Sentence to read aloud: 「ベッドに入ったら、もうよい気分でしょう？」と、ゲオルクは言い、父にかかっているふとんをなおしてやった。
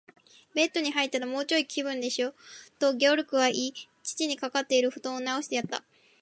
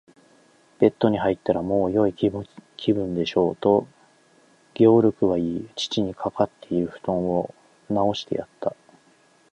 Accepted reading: second